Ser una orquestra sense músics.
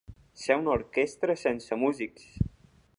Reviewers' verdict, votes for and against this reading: accepted, 2, 0